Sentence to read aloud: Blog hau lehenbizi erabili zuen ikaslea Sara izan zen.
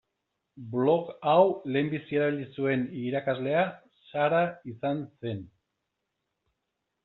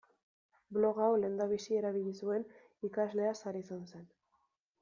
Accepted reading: second